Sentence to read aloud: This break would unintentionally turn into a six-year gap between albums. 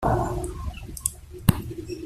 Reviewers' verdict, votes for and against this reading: rejected, 0, 2